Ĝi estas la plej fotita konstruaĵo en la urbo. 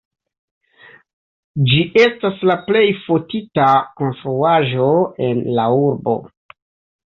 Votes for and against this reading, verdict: 2, 0, accepted